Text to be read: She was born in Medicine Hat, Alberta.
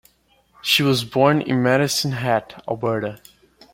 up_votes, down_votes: 2, 0